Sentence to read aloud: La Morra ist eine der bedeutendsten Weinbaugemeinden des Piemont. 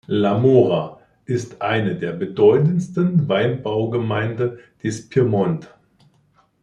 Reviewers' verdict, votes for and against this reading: rejected, 0, 2